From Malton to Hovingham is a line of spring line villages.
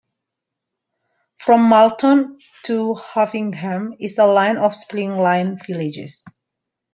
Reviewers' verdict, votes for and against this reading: accepted, 2, 0